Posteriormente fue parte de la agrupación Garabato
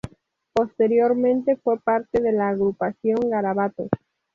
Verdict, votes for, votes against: accepted, 2, 0